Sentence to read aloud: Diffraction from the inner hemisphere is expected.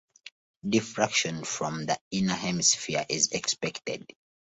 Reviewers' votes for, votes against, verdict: 2, 0, accepted